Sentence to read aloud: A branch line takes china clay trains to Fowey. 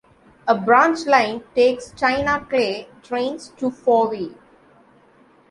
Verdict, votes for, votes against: accepted, 2, 0